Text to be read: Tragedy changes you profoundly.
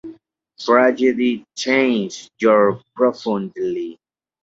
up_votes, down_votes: 0, 2